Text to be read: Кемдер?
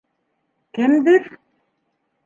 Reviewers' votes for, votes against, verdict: 2, 0, accepted